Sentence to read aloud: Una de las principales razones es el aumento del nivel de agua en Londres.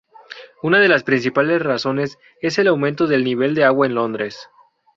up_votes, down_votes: 2, 0